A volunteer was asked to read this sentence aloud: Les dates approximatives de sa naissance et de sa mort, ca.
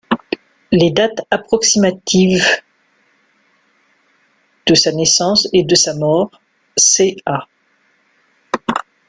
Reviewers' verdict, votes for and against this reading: rejected, 0, 2